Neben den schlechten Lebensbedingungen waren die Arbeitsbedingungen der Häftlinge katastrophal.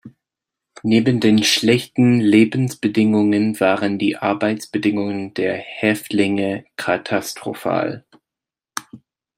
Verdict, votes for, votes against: accepted, 2, 0